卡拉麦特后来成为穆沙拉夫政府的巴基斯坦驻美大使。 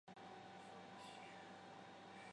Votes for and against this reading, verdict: 2, 1, accepted